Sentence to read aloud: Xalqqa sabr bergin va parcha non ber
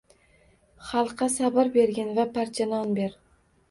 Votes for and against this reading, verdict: 2, 0, accepted